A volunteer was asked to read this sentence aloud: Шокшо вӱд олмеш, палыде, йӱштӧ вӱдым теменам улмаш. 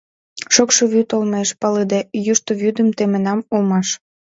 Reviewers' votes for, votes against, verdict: 1, 2, rejected